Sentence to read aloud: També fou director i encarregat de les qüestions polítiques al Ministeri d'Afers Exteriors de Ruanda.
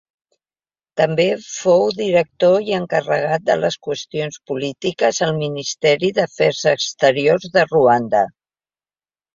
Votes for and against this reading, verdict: 2, 0, accepted